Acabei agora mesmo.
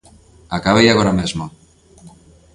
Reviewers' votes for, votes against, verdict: 3, 0, accepted